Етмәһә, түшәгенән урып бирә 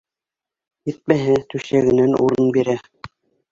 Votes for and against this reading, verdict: 0, 2, rejected